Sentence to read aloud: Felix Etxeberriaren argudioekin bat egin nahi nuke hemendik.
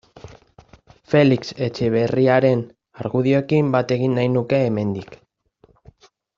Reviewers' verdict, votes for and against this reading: accepted, 2, 0